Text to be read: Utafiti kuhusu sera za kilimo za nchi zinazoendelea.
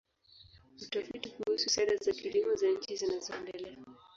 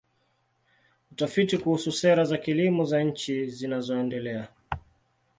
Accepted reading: second